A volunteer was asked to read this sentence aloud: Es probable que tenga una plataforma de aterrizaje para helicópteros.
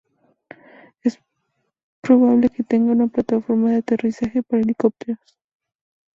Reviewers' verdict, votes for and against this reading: rejected, 0, 2